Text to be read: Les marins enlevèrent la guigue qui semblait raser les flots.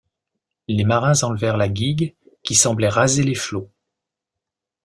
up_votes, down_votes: 2, 0